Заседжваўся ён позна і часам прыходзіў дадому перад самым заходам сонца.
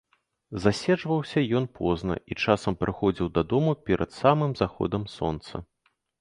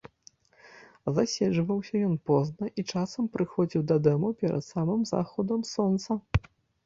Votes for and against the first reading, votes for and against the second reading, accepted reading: 2, 0, 1, 2, first